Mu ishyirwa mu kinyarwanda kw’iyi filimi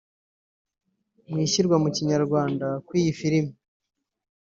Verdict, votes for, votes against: accepted, 3, 0